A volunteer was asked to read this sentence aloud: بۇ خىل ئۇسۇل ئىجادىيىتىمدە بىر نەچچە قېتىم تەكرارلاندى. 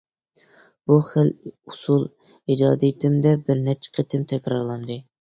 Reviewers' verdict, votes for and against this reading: accepted, 2, 0